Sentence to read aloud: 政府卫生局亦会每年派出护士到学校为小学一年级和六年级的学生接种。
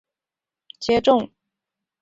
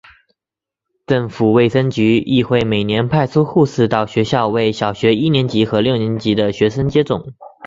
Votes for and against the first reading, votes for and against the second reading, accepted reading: 1, 2, 5, 1, second